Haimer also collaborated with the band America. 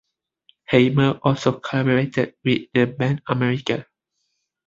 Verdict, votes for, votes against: accepted, 2, 0